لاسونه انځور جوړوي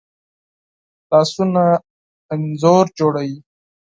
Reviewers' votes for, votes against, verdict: 8, 2, accepted